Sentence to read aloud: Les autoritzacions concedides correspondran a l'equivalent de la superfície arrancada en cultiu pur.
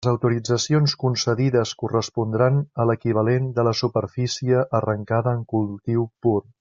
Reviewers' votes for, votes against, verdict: 3, 0, accepted